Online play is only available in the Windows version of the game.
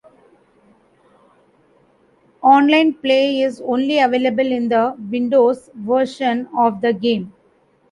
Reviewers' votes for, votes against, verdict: 2, 1, accepted